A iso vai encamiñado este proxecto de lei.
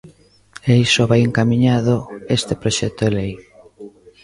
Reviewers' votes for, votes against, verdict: 0, 2, rejected